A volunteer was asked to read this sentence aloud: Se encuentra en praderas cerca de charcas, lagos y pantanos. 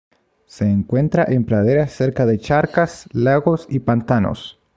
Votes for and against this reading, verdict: 2, 0, accepted